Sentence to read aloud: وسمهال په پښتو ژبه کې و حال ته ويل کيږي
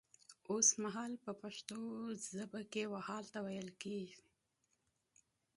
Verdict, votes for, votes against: accepted, 2, 0